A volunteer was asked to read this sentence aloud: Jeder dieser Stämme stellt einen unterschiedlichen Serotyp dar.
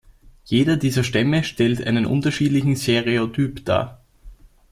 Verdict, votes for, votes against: rejected, 0, 2